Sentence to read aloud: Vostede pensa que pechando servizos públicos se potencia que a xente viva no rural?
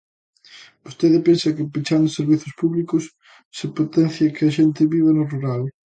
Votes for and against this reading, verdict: 2, 0, accepted